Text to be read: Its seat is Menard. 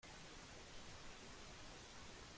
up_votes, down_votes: 0, 2